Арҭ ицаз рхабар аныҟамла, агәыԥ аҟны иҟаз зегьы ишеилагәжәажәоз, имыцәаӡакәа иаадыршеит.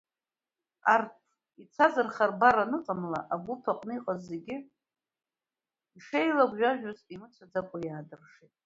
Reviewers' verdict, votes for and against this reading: rejected, 0, 3